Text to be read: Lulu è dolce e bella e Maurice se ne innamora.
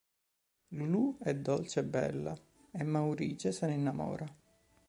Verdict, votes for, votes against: rejected, 1, 2